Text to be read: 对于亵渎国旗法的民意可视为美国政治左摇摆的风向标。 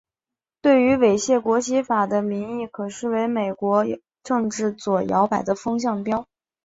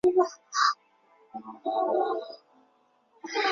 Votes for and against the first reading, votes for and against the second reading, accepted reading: 3, 1, 0, 4, first